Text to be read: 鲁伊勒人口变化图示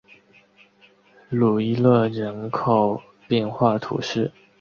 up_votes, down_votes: 2, 0